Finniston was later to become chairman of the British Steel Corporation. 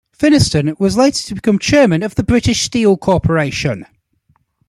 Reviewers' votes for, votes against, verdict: 2, 0, accepted